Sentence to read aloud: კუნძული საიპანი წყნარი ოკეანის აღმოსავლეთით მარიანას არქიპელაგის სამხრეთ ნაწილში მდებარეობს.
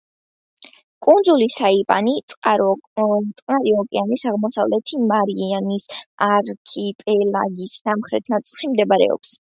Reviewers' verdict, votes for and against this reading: rejected, 1, 2